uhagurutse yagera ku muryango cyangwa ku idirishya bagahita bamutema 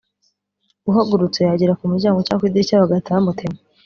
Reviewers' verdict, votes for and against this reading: accepted, 2, 0